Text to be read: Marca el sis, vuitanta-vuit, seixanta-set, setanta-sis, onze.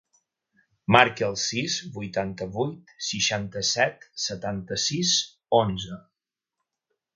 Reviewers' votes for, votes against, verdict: 4, 0, accepted